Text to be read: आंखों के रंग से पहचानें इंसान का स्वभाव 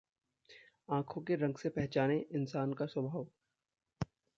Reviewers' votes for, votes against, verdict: 1, 2, rejected